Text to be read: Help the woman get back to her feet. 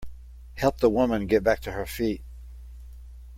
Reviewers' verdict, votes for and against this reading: accepted, 2, 0